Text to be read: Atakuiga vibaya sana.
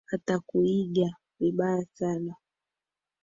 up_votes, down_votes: 2, 0